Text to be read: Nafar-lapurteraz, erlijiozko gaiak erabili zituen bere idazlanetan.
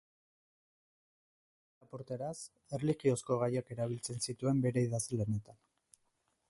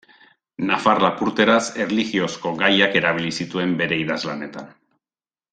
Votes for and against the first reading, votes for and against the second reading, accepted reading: 2, 4, 2, 0, second